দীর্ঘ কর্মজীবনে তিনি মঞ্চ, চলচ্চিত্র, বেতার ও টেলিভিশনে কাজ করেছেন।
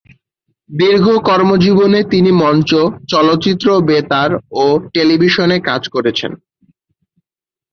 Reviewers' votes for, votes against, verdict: 6, 0, accepted